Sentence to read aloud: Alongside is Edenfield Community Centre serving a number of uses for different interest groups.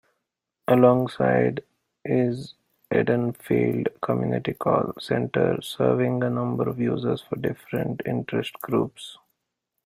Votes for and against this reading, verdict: 0, 2, rejected